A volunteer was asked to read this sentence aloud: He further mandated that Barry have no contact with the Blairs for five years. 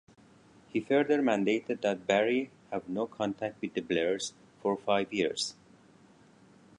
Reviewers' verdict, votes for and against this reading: accepted, 2, 0